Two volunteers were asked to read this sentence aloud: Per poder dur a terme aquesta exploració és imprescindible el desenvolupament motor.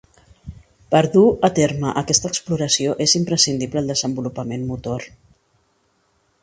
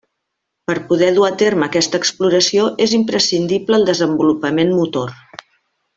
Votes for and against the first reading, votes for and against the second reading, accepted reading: 0, 2, 3, 0, second